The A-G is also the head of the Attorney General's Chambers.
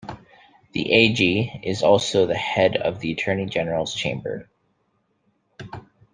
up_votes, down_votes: 1, 2